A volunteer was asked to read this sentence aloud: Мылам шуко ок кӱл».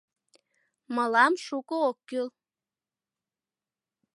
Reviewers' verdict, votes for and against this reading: accepted, 2, 0